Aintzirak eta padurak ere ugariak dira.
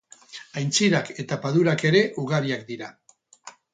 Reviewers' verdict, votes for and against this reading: rejected, 0, 2